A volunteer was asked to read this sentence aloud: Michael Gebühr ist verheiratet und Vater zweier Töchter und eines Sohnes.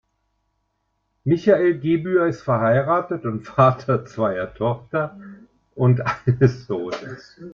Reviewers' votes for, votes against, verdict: 1, 2, rejected